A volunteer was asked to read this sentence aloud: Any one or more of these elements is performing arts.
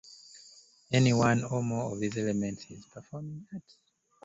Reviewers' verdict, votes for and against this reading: rejected, 1, 2